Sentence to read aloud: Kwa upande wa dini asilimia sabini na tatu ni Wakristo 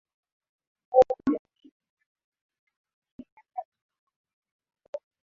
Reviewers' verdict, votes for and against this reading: rejected, 0, 7